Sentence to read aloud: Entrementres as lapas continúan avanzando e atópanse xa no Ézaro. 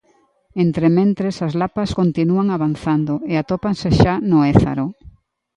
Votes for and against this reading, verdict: 2, 0, accepted